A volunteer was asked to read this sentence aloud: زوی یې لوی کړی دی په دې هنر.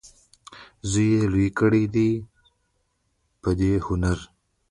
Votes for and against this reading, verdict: 1, 2, rejected